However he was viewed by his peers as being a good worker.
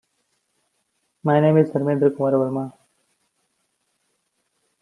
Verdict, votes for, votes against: rejected, 0, 2